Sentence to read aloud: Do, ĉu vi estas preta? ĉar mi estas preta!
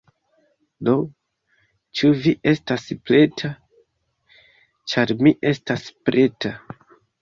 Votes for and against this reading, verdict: 2, 0, accepted